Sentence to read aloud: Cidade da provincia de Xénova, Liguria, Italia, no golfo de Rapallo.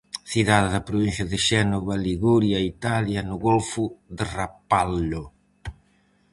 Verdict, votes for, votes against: rejected, 2, 2